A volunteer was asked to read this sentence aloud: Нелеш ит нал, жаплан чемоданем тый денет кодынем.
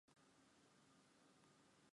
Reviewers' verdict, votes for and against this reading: rejected, 0, 2